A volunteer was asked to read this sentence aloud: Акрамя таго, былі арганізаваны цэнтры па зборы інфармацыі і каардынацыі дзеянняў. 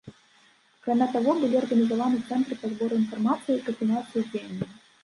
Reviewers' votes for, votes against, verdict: 1, 2, rejected